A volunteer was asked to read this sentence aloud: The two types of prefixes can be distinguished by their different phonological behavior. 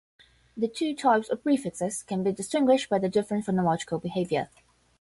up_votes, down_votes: 5, 5